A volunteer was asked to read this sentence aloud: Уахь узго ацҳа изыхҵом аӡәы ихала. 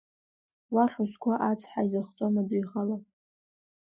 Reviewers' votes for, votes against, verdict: 2, 1, accepted